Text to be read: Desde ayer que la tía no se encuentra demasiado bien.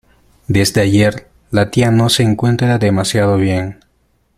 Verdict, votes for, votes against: rejected, 1, 2